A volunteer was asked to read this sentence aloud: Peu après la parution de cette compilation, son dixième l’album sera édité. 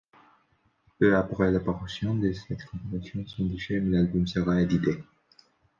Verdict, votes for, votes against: rejected, 0, 2